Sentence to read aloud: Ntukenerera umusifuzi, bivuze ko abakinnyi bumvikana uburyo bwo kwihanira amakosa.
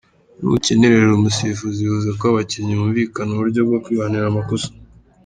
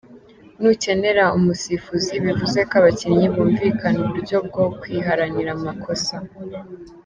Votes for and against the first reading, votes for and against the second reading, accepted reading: 2, 1, 0, 2, first